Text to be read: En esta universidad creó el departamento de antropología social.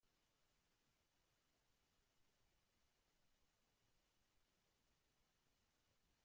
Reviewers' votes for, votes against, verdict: 0, 2, rejected